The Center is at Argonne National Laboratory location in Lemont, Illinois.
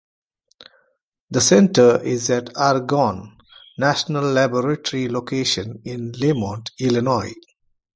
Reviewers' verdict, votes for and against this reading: accepted, 2, 1